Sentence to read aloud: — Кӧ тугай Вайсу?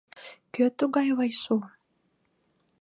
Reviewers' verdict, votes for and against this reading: accepted, 2, 0